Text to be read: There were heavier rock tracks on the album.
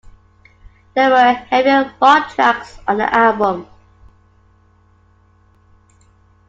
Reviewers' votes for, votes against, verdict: 2, 1, accepted